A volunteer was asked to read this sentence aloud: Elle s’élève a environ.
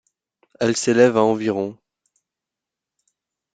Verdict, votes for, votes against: accepted, 2, 0